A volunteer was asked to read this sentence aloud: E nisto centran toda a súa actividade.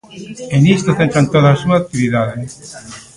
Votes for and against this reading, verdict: 0, 2, rejected